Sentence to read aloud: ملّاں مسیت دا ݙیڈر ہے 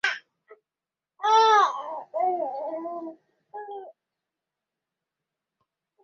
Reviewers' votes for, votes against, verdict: 0, 2, rejected